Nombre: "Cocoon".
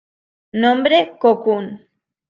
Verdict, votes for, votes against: accepted, 2, 0